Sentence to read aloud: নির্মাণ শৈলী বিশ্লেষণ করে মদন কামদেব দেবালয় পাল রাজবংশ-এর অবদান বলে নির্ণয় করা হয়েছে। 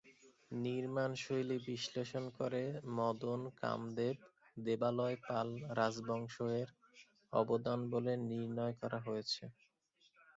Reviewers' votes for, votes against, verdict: 1, 2, rejected